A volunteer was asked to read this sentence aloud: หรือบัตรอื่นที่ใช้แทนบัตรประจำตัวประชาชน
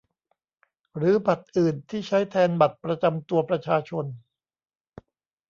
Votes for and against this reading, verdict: 2, 0, accepted